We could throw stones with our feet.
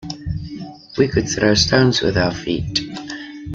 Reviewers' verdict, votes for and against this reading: accepted, 2, 0